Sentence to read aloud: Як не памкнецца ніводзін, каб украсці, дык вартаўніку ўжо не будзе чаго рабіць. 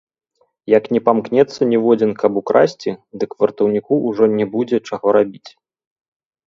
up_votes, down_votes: 0, 2